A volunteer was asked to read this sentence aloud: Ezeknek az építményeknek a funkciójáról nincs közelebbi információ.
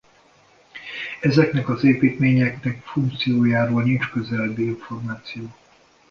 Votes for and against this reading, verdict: 0, 2, rejected